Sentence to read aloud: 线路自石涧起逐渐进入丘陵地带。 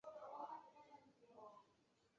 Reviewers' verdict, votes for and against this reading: rejected, 0, 2